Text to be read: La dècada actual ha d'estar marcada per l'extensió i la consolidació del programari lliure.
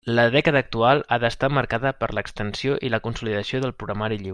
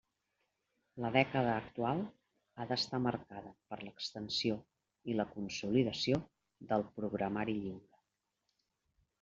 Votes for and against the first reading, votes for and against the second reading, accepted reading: 0, 2, 2, 0, second